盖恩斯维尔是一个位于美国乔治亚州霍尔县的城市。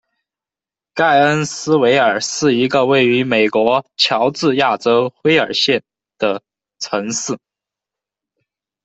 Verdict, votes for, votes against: rejected, 1, 2